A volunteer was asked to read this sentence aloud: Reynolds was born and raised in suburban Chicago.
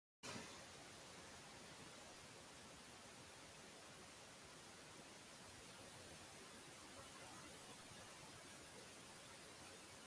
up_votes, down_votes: 0, 2